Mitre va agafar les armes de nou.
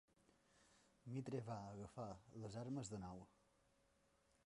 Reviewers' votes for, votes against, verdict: 1, 2, rejected